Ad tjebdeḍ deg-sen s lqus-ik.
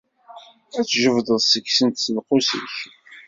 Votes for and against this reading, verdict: 1, 2, rejected